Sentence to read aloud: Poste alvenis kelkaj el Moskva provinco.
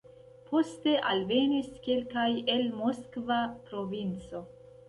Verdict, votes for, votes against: accepted, 2, 0